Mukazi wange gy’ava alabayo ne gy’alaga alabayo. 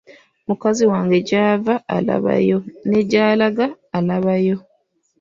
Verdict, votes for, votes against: accepted, 2, 1